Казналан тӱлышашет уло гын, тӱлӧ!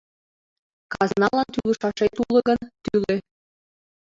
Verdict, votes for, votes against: accepted, 2, 0